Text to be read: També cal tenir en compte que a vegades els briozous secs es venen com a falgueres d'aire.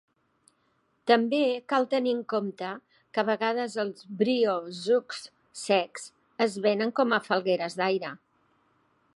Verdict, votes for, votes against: accepted, 2, 1